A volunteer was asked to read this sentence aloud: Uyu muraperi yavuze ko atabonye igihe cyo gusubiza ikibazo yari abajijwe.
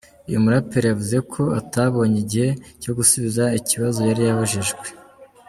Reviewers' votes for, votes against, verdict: 0, 2, rejected